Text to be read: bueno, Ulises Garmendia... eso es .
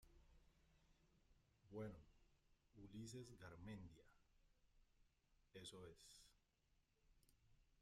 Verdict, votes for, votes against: rejected, 0, 2